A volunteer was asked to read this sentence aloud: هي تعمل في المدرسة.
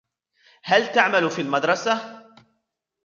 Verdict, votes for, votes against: rejected, 0, 2